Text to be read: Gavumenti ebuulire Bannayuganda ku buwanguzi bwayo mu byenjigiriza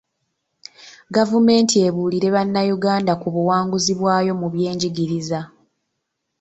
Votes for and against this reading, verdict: 2, 0, accepted